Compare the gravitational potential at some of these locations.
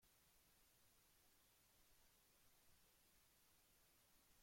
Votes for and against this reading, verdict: 0, 2, rejected